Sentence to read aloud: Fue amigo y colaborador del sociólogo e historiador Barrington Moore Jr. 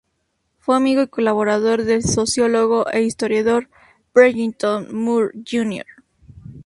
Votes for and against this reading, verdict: 2, 0, accepted